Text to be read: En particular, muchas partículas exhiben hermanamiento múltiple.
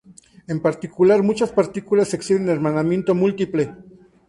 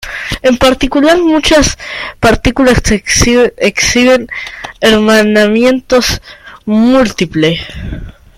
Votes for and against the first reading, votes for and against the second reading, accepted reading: 4, 0, 0, 2, first